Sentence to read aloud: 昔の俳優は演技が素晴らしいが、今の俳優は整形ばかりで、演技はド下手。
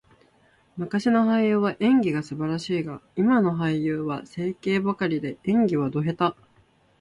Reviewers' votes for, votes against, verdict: 2, 0, accepted